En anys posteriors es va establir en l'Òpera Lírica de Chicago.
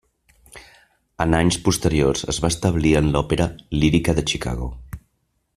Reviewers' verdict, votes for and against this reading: accepted, 3, 0